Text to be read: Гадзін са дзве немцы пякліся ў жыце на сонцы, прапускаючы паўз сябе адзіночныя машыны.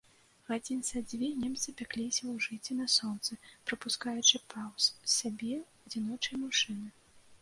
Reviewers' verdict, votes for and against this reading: rejected, 0, 2